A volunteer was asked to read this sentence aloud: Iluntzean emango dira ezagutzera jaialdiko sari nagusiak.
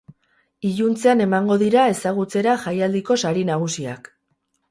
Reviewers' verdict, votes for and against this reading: accepted, 2, 0